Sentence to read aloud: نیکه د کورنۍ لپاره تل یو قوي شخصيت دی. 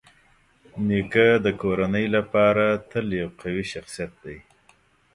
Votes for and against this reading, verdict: 2, 0, accepted